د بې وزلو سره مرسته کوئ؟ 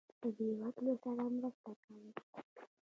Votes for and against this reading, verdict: 0, 2, rejected